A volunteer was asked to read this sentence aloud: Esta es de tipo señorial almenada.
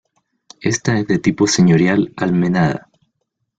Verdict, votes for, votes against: accepted, 2, 1